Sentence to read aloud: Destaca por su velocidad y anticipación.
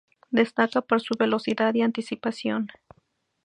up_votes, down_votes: 2, 0